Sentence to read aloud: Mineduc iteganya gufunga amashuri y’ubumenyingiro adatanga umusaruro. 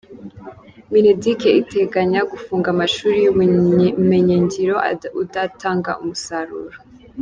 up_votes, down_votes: 0, 2